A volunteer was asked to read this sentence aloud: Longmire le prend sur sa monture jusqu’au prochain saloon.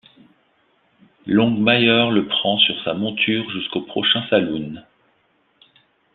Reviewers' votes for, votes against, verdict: 1, 2, rejected